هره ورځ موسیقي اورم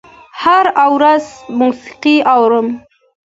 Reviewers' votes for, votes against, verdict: 2, 0, accepted